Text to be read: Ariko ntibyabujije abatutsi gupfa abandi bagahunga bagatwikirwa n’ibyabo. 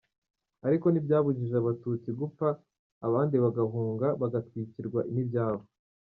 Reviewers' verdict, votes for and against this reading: rejected, 0, 2